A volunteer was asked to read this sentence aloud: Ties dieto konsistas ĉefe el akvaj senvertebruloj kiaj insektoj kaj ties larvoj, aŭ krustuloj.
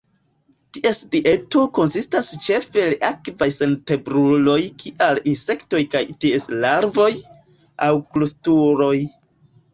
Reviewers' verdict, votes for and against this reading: accepted, 2, 1